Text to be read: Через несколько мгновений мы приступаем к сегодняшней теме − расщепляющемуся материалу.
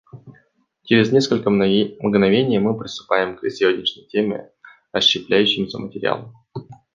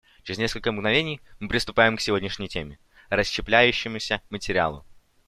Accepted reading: second